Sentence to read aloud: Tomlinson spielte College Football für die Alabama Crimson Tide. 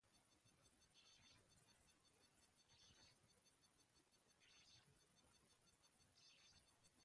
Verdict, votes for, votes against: rejected, 0, 2